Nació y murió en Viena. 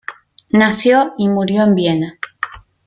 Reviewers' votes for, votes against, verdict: 2, 0, accepted